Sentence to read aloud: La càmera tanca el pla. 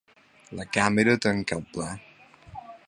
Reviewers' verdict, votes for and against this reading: accepted, 3, 0